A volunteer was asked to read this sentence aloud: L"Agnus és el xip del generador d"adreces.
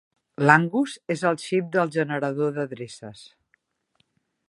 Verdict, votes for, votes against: rejected, 0, 2